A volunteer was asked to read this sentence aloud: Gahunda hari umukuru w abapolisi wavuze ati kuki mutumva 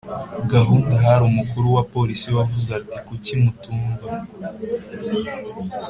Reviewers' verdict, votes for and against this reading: accepted, 2, 0